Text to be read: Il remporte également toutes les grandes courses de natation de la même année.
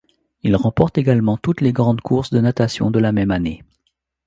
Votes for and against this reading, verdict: 2, 0, accepted